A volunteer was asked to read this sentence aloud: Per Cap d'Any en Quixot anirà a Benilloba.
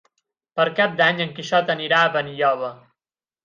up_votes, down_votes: 8, 0